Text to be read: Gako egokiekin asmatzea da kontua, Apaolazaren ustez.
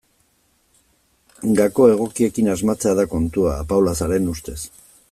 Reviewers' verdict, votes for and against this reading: accepted, 3, 0